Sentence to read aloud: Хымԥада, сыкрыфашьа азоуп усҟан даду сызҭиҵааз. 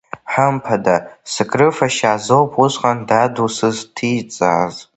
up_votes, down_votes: 2, 1